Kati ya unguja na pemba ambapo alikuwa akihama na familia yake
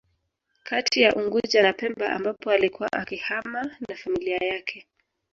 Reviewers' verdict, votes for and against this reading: rejected, 0, 2